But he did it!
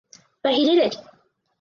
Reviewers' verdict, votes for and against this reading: accepted, 4, 0